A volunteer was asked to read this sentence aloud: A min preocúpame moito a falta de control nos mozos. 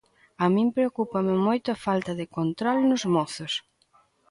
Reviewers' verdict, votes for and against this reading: accepted, 2, 0